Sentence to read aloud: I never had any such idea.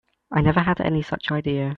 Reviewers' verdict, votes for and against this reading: accepted, 3, 0